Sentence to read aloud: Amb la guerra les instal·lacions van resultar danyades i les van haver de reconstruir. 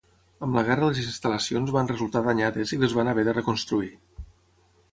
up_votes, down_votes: 3, 0